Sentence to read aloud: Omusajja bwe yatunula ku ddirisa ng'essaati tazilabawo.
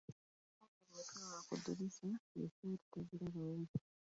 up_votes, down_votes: 0, 2